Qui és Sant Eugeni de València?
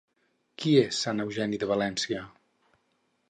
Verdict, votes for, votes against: rejected, 0, 2